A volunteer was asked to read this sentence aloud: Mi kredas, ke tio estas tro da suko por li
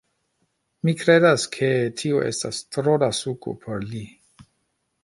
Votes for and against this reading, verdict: 1, 2, rejected